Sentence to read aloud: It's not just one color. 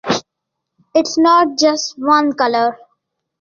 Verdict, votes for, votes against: accepted, 2, 0